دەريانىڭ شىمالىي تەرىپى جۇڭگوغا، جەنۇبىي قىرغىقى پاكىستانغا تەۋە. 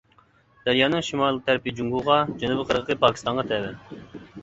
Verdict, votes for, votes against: rejected, 1, 2